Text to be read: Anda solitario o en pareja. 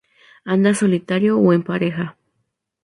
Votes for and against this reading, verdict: 2, 0, accepted